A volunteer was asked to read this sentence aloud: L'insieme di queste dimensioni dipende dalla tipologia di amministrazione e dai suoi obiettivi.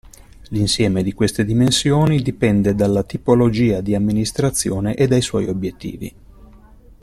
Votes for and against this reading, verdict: 2, 0, accepted